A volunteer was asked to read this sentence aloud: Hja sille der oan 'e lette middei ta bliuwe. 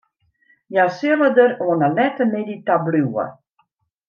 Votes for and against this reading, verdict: 2, 0, accepted